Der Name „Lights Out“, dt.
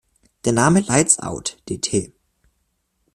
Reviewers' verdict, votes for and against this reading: rejected, 1, 2